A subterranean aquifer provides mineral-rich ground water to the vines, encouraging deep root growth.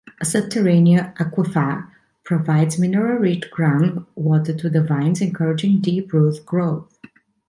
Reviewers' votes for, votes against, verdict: 1, 2, rejected